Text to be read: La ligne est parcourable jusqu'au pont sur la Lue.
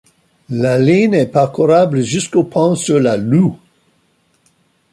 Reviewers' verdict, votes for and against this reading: rejected, 1, 2